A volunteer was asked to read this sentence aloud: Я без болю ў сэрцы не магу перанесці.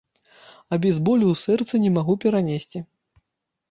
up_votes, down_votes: 0, 2